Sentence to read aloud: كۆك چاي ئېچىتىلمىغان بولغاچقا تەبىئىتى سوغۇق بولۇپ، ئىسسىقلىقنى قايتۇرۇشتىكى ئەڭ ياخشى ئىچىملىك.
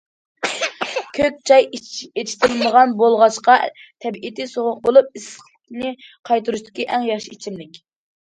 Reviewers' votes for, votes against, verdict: 0, 2, rejected